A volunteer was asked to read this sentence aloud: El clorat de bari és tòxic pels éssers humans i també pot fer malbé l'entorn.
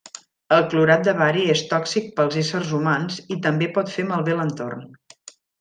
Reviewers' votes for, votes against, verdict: 2, 0, accepted